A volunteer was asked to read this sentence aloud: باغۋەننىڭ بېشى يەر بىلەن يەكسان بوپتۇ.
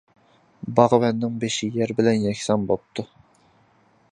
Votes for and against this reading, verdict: 2, 0, accepted